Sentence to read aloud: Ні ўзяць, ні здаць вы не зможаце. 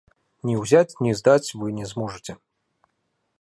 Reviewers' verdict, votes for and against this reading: accepted, 2, 0